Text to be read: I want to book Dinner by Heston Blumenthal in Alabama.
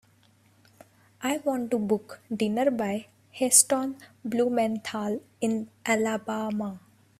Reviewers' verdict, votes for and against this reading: accepted, 2, 0